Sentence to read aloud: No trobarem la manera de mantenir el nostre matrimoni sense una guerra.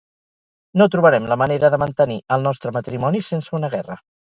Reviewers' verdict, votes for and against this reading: rejected, 0, 2